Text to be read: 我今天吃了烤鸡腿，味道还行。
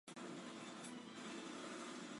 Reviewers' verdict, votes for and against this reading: rejected, 0, 2